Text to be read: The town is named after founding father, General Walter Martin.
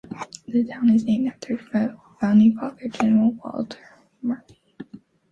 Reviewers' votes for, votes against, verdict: 2, 1, accepted